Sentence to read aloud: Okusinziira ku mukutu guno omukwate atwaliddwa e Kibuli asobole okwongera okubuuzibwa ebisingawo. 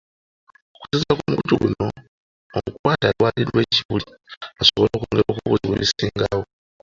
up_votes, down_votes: 2, 1